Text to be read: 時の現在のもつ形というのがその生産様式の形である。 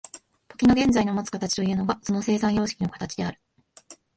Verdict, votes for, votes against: accepted, 2, 0